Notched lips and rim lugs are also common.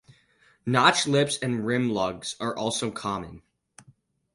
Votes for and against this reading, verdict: 4, 0, accepted